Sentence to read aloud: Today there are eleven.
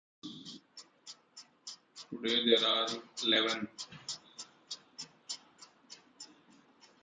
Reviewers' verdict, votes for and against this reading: rejected, 0, 2